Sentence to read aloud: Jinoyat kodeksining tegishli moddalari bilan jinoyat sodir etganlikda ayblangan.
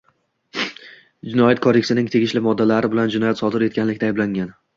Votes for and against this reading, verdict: 2, 0, accepted